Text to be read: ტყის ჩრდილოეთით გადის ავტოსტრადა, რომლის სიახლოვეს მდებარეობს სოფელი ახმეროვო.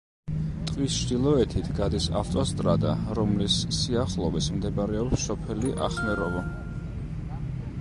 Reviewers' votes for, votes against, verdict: 0, 2, rejected